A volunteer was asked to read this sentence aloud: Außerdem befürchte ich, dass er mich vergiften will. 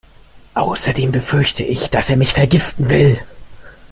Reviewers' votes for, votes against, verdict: 2, 0, accepted